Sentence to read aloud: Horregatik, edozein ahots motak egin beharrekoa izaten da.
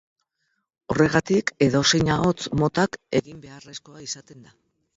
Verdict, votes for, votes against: rejected, 0, 4